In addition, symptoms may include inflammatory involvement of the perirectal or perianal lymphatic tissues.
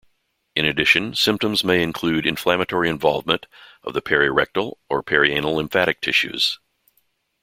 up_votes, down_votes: 2, 0